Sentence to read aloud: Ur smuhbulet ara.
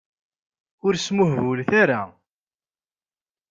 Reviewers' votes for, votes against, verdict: 2, 0, accepted